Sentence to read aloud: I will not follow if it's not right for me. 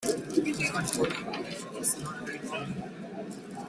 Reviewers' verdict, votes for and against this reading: rejected, 0, 2